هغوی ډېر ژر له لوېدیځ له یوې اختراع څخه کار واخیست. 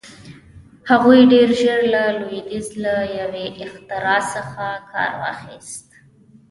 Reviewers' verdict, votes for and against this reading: rejected, 1, 2